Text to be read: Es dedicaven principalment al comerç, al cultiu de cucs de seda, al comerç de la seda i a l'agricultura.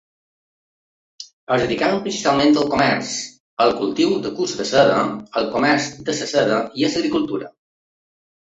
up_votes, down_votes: 0, 2